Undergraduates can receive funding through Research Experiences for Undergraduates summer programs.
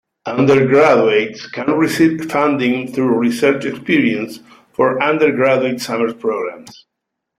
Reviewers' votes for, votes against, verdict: 1, 3, rejected